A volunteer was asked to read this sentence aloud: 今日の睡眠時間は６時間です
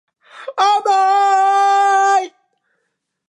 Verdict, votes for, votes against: rejected, 0, 2